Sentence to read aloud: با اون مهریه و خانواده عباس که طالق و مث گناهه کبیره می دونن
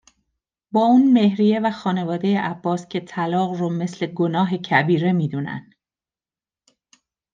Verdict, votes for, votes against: rejected, 0, 2